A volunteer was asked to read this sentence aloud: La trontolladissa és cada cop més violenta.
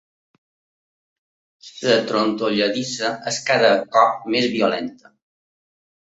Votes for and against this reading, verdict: 2, 0, accepted